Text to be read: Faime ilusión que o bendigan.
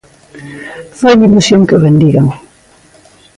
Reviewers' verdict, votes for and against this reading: rejected, 1, 2